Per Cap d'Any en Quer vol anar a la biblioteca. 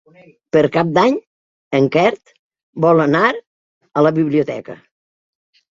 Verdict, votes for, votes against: accepted, 3, 0